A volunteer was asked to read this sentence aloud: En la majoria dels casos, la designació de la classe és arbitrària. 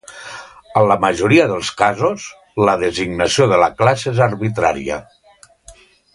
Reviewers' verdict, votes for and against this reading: accepted, 2, 0